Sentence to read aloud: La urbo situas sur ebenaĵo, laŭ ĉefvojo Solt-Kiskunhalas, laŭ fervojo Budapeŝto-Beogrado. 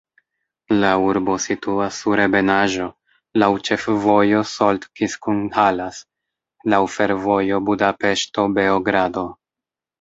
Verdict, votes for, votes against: accepted, 2, 0